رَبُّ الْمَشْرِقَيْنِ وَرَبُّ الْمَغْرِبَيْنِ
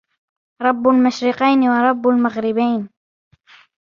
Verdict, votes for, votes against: rejected, 1, 2